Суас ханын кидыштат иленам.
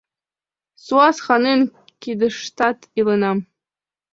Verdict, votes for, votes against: rejected, 1, 2